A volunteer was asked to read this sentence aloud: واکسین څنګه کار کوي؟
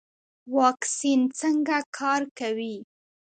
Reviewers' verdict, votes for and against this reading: accepted, 2, 0